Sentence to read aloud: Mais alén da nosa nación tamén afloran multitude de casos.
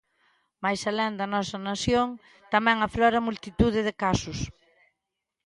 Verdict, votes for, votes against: accepted, 2, 0